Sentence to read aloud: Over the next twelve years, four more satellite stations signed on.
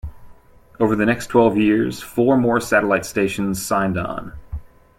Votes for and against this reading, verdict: 2, 0, accepted